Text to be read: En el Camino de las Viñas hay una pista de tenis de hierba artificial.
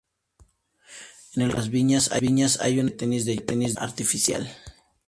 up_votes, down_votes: 2, 2